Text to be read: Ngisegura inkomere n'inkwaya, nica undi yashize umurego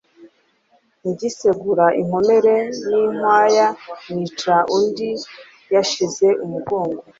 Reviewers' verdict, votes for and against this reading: accepted, 2, 1